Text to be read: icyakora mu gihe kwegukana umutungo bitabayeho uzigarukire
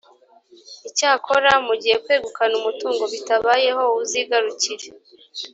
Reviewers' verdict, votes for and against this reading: accepted, 2, 0